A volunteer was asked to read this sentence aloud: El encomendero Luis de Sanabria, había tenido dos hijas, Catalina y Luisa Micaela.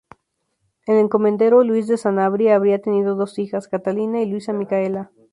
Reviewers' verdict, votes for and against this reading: rejected, 0, 2